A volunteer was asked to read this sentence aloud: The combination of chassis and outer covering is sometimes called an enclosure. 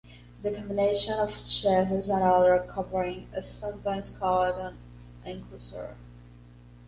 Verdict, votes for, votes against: accepted, 2, 0